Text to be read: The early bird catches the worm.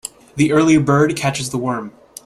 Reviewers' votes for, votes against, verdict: 2, 0, accepted